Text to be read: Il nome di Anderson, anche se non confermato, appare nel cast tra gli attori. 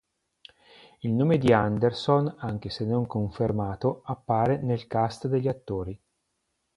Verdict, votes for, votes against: rejected, 1, 2